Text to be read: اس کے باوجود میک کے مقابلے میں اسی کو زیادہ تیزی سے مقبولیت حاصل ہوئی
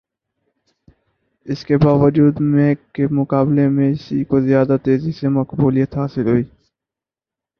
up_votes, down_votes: 6, 0